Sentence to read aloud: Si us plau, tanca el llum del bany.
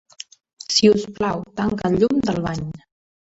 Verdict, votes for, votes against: accepted, 3, 0